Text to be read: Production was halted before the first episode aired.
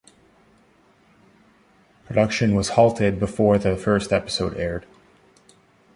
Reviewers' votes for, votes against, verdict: 2, 0, accepted